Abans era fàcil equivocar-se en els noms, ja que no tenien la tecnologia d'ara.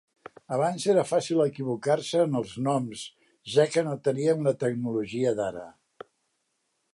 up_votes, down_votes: 2, 0